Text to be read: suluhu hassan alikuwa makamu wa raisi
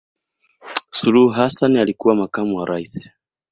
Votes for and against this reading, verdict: 2, 0, accepted